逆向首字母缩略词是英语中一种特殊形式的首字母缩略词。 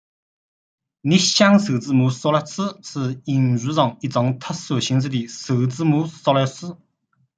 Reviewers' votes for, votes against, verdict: 1, 2, rejected